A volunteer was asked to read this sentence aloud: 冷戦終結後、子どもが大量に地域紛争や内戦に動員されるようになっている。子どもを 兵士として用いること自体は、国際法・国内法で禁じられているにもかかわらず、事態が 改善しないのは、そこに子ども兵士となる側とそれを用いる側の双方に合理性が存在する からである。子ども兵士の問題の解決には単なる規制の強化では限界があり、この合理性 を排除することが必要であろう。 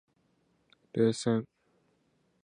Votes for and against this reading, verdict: 1, 2, rejected